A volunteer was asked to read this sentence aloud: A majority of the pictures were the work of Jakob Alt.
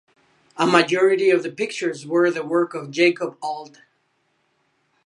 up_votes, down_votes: 2, 0